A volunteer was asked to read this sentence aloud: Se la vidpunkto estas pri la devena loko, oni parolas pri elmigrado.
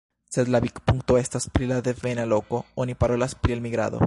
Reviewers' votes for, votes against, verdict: 2, 1, accepted